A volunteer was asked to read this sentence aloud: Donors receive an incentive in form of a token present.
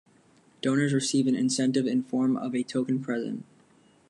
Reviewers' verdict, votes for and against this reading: accepted, 2, 0